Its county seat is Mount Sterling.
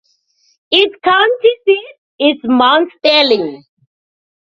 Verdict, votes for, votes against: rejected, 0, 2